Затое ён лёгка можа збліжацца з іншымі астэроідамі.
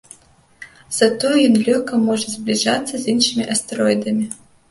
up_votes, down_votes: 2, 1